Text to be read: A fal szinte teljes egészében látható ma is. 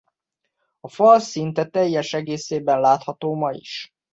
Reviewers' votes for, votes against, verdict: 2, 0, accepted